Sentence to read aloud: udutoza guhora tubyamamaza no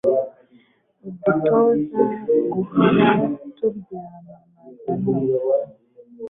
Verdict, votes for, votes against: accepted, 3, 0